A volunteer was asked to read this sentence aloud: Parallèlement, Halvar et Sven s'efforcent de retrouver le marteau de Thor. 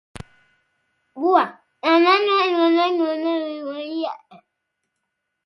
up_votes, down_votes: 0, 2